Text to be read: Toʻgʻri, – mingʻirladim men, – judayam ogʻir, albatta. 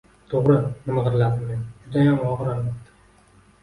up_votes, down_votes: 1, 2